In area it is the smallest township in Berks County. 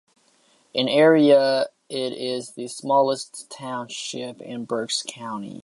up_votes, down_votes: 2, 0